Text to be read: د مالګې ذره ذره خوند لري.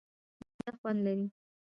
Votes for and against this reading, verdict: 0, 2, rejected